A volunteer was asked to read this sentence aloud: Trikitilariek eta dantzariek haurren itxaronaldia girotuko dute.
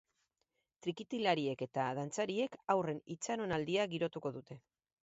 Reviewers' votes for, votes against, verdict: 2, 0, accepted